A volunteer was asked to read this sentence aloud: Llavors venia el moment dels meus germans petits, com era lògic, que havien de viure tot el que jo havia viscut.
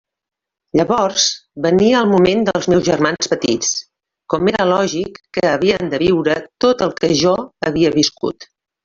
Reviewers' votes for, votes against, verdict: 3, 0, accepted